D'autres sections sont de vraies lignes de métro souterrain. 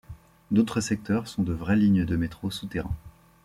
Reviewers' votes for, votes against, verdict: 1, 2, rejected